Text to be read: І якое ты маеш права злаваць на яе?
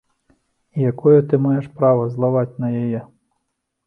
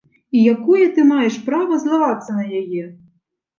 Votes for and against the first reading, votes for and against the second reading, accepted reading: 2, 0, 0, 2, first